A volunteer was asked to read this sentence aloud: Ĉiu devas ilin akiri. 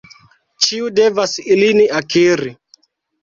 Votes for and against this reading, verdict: 2, 1, accepted